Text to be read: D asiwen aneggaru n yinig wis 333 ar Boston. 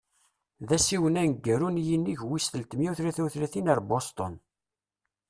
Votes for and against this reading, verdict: 0, 2, rejected